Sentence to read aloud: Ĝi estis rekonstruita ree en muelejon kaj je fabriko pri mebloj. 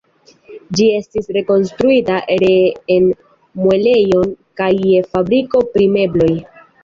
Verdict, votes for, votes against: accepted, 2, 0